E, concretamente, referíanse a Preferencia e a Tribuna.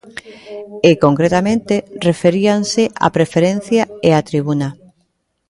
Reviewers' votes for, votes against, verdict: 1, 2, rejected